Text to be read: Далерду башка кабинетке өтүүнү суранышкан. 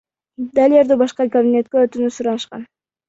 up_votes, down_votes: 1, 2